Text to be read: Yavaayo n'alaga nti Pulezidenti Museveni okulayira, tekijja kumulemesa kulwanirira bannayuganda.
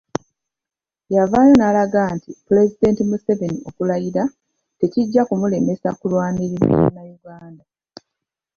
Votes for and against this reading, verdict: 1, 2, rejected